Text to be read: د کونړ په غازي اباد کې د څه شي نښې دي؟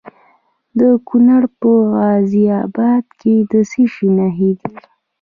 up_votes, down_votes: 1, 2